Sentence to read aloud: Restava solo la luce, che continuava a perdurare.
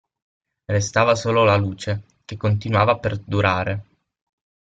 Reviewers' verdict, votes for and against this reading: rejected, 3, 6